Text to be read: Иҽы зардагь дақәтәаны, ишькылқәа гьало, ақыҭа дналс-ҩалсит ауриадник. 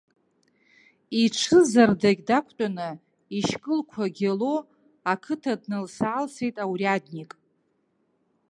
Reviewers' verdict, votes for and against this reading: rejected, 1, 2